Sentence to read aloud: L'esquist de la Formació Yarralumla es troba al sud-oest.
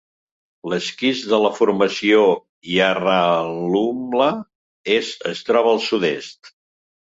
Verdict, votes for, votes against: rejected, 0, 2